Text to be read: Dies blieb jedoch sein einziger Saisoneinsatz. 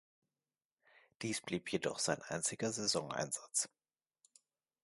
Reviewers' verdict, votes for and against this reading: accepted, 2, 0